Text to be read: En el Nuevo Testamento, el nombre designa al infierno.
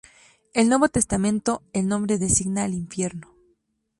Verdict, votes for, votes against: rejected, 2, 2